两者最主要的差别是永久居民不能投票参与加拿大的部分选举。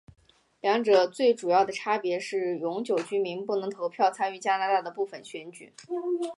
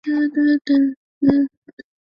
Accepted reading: first